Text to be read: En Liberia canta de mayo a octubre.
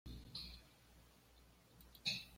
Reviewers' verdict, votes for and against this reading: rejected, 1, 2